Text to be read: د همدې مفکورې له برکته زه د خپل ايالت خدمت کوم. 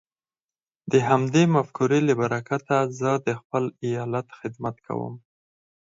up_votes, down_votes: 4, 0